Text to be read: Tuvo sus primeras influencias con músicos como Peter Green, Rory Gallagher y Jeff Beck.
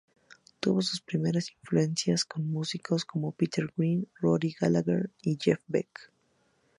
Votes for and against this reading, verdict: 0, 2, rejected